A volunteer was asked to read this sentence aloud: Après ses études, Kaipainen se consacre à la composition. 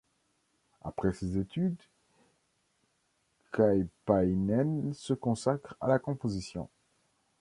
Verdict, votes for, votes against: rejected, 1, 2